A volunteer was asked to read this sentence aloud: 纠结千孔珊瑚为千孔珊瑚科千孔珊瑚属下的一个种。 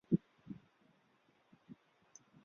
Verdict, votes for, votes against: rejected, 0, 2